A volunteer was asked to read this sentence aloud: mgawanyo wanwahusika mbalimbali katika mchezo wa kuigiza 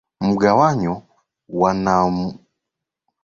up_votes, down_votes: 0, 2